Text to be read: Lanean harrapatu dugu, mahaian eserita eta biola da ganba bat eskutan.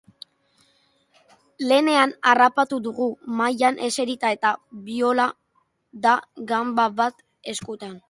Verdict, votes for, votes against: rejected, 0, 2